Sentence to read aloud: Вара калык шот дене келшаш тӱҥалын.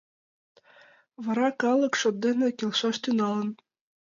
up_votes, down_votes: 3, 0